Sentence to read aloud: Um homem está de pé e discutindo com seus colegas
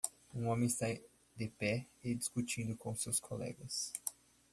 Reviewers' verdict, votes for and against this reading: rejected, 1, 2